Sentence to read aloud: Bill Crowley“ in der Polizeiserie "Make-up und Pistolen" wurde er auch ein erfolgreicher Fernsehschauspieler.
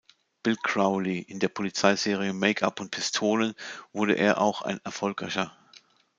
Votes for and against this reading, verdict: 0, 2, rejected